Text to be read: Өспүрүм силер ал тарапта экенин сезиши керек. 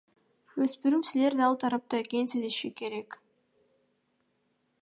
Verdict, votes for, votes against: rejected, 1, 2